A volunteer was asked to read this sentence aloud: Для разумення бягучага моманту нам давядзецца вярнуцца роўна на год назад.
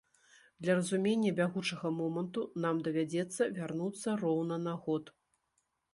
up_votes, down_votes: 1, 2